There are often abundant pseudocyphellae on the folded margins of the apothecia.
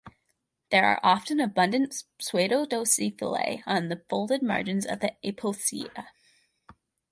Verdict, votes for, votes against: rejected, 0, 2